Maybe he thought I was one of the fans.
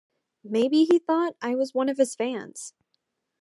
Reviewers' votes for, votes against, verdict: 0, 2, rejected